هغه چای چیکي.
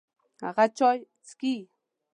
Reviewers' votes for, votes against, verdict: 2, 0, accepted